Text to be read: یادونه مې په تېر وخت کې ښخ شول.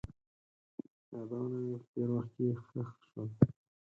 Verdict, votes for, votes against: rejected, 2, 6